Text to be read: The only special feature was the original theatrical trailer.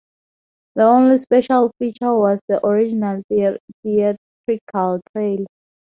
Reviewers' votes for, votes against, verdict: 0, 2, rejected